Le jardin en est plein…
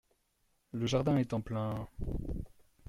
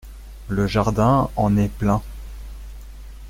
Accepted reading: second